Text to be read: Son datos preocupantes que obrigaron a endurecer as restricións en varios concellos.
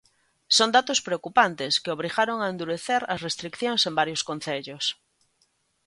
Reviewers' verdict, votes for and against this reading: rejected, 1, 2